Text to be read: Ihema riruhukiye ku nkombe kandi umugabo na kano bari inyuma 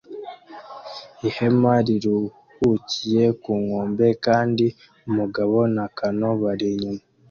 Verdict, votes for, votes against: accepted, 2, 0